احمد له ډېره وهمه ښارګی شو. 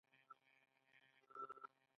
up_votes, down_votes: 2, 0